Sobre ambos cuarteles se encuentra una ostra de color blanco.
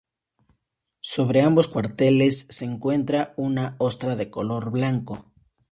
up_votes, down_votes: 2, 0